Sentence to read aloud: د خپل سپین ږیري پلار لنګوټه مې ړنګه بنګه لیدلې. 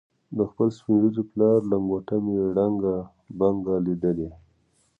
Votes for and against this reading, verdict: 2, 0, accepted